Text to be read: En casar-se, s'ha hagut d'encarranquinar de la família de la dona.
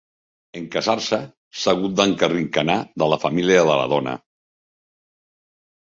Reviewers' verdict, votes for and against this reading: accepted, 2, 1